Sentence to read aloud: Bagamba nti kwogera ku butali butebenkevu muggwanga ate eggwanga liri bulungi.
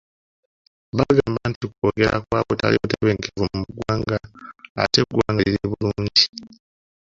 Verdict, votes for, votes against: rejected, 0, 2